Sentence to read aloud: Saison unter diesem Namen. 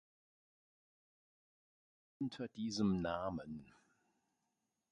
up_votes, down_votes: 0, 2